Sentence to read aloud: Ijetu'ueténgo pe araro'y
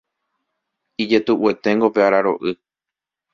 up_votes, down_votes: 1, 2